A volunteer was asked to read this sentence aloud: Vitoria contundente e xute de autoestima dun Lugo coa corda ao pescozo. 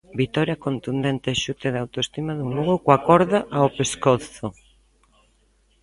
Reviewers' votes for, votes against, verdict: 1, 2, rejected